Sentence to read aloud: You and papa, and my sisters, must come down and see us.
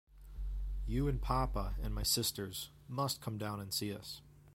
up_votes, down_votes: 2, 0